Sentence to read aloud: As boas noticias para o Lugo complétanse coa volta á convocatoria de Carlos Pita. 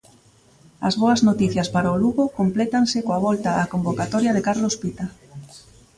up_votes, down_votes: 0, 2